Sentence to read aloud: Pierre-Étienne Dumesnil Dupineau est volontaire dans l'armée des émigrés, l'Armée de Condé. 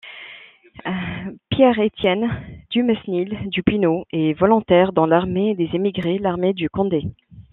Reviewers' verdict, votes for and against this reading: rejected, 0, 2